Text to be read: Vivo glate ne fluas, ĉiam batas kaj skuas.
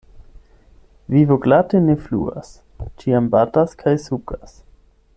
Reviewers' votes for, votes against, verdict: 0, 8, rejected